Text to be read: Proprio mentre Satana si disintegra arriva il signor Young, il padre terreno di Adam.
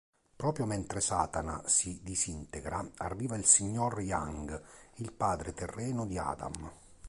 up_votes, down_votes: 2, 0